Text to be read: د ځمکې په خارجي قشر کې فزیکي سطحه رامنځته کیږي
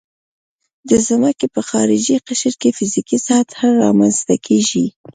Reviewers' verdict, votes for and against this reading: rejected, 0, 2